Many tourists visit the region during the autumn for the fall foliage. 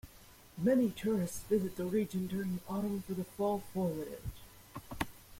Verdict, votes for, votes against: accepted, 2, 1